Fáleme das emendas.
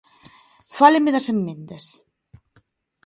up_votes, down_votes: 0, 2